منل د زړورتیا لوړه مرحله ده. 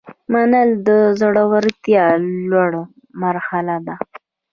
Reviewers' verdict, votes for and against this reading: rejected, 0, 2